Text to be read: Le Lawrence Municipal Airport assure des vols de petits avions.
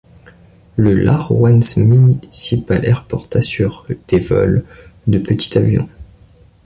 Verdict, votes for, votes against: rejected, 0, 2